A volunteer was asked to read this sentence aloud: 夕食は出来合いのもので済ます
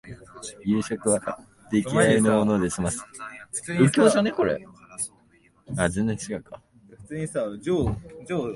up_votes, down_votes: 0, 2